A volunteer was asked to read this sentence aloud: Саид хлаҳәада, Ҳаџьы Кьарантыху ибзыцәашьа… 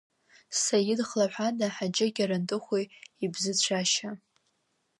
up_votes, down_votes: 1, 2